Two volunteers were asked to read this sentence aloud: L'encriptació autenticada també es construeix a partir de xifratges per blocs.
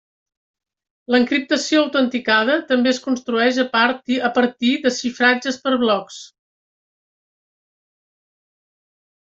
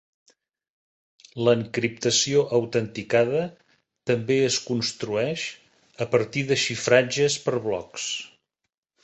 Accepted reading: second